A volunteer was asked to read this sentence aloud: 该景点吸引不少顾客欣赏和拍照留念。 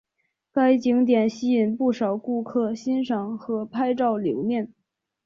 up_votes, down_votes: 3, 0